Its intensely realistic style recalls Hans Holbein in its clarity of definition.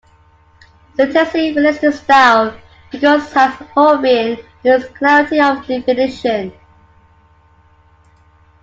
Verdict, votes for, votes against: accepted, 2, 0